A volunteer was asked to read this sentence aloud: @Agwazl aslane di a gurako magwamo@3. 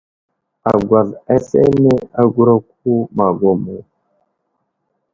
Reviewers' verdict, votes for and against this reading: rejected, 0, 2